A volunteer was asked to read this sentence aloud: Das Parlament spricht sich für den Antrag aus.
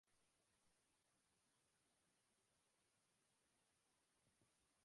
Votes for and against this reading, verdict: 0, 2, rejected